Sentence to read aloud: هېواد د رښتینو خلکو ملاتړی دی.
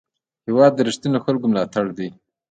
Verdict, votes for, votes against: rejected, 1, 2